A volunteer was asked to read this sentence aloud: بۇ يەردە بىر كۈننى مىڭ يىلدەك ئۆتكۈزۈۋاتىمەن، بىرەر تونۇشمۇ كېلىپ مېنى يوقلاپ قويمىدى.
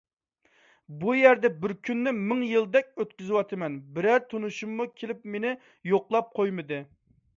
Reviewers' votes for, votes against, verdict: 1, 2, rejected